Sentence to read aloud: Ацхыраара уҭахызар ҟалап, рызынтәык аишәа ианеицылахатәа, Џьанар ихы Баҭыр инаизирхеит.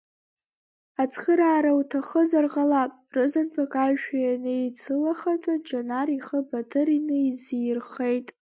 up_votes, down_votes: 1, 2